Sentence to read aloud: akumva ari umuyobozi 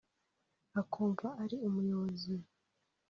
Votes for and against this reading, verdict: 4, 0, accepted